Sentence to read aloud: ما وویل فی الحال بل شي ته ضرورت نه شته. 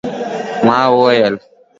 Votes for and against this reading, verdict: 1, 2, rejected